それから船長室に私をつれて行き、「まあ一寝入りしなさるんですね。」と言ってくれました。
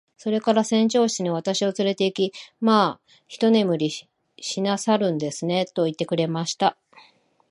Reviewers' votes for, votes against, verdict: 2, 0, accepted